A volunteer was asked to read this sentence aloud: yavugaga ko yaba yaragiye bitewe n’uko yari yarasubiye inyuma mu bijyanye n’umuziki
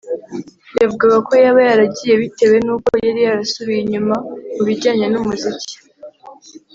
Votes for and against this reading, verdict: 2, 0, accepted